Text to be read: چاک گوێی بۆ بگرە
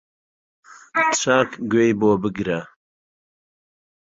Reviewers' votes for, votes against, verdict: 1, 2, rejected